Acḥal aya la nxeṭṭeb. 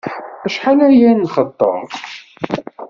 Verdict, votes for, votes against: rejected, 1, 2